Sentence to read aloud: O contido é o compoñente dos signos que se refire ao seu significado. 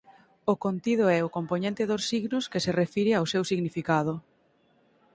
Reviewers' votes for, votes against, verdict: 6, 0, accepted